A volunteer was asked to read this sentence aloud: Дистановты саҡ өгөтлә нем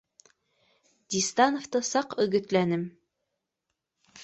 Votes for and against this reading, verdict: 2, 0, accepted